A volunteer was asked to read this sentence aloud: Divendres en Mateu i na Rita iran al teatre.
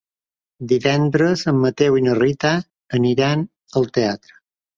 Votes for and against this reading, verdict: 1, 3, rejected